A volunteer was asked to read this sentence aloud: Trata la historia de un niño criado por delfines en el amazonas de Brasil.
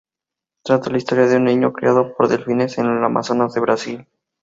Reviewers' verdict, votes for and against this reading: accepted, 4, 0